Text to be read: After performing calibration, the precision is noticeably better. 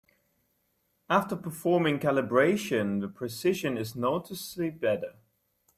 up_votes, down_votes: 2, 0